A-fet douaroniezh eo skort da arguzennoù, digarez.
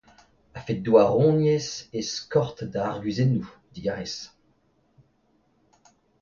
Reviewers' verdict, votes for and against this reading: accepted, 2, 0